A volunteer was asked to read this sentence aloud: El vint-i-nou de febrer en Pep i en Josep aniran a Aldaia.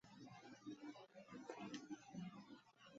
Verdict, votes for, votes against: rejected, 1, 2